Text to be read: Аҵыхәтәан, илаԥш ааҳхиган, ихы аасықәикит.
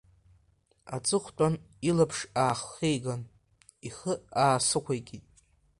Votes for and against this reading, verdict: 1, 2, rejected